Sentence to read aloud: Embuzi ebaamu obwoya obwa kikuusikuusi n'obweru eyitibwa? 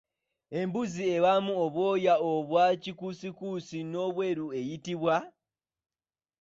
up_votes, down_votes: 2, 0